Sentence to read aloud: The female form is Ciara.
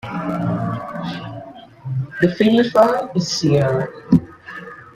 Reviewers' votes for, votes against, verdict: 1, 2, rejected